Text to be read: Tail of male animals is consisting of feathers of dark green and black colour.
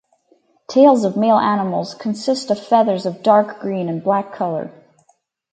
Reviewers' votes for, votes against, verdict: 0, 4, rejected